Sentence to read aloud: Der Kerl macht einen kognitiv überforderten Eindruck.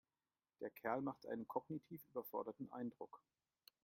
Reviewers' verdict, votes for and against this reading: accepted, 2, 1